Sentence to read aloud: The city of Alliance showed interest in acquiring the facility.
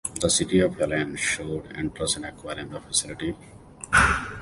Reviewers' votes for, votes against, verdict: 1, 2, rejected